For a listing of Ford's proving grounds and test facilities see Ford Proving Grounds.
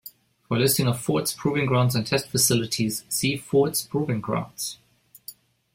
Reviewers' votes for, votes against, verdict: 0, 2, rejected